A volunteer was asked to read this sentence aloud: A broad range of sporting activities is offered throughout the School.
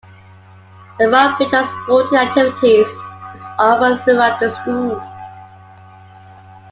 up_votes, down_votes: 2, 1